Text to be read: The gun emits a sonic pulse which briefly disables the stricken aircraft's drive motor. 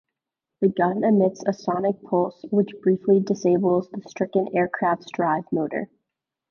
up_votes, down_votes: 2, 1